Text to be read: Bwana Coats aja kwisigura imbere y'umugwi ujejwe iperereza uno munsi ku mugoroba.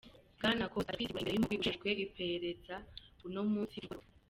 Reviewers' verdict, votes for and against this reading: rejected, 1, 2